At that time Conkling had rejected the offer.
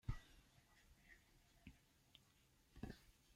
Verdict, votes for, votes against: rejected, 1, 2